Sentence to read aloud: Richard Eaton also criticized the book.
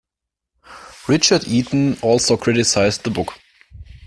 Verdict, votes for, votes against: accepted, 2, 0